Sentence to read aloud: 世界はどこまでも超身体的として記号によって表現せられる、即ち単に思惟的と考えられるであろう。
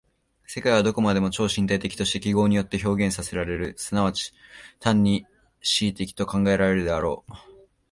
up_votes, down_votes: 2, 0